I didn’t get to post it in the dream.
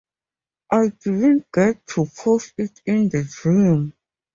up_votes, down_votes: 2, 4